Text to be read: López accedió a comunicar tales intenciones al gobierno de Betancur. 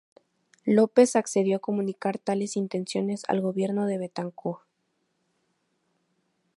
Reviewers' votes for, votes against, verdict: 2, 0, accepted